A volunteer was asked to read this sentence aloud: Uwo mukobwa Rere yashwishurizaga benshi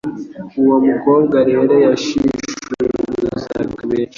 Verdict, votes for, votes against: rejected, 1, 2